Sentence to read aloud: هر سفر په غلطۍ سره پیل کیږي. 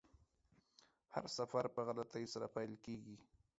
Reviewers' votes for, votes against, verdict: 2, 0, accepted